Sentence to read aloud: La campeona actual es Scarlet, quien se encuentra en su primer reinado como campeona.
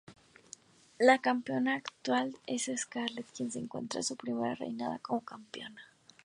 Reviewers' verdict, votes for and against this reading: rejected, 2, 4